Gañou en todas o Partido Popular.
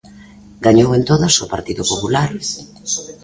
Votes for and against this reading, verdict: 1, 2, rejected